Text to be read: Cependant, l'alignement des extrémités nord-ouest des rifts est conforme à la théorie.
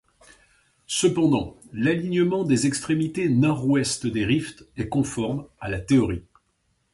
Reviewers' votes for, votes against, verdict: 2, 0, accepted